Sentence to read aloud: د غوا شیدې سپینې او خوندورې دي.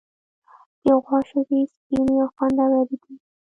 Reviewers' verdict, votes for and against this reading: accepted, 2, 1